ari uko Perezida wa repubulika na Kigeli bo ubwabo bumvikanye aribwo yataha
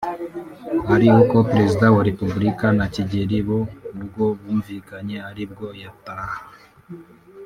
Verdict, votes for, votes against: rejected, 1, 2